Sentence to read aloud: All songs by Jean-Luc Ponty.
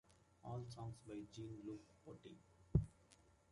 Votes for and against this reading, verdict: 1, 2, rejected